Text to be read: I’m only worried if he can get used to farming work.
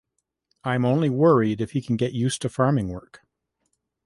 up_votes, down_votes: 2, 0